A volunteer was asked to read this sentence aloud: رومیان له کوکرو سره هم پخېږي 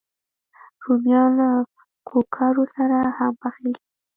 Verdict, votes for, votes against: rejected, 1, 2